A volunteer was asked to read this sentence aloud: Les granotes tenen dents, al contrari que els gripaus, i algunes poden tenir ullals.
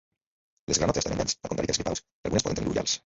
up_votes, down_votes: 0, 2